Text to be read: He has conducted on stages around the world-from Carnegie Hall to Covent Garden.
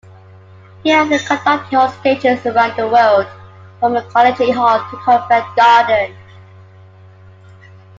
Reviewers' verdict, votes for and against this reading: accepted, 2, 0